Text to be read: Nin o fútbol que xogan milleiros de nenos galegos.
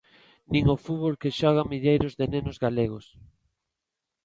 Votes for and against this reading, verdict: 3, 0, accepted